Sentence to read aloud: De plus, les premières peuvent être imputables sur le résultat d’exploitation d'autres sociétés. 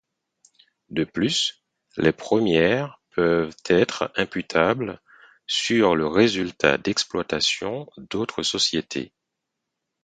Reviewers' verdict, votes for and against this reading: accepted, 4, 0